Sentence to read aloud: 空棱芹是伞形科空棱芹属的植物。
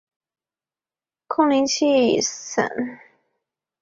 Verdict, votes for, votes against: rejected, 1, 4